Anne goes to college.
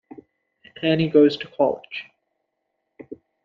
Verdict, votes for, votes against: rejected, 0, 2